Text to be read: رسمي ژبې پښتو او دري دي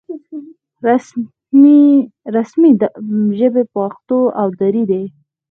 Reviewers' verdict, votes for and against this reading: accepted, 4, 0